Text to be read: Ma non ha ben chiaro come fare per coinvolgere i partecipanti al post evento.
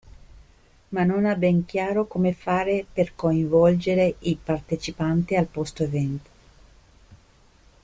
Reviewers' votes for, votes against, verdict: 1, 2, rejected